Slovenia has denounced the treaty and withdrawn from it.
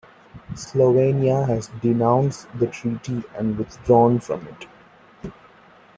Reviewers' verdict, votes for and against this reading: accepted, 2, 0